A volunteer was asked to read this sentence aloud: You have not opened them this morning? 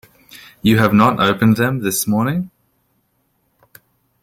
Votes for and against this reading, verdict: 2, 0, accepted